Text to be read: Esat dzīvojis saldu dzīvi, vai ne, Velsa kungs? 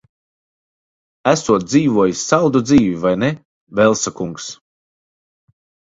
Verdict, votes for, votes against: rejected, 0, 2